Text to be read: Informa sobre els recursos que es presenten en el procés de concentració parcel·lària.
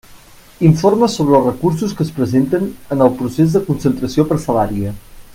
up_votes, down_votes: 2, 0